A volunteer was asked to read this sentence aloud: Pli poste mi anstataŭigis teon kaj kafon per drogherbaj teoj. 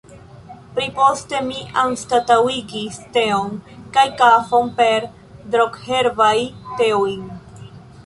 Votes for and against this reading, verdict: 2, 0, accepted